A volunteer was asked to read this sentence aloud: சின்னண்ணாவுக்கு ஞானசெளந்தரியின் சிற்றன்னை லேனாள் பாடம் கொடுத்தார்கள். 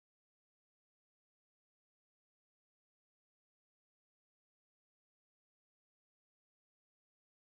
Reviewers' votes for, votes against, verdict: 0, 2, rejected